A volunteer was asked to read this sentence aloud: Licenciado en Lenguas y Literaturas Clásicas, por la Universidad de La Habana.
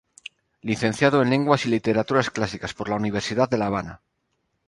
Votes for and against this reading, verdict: 0, 2, rejected